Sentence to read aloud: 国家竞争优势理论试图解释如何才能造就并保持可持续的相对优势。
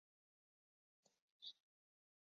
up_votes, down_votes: 0, 3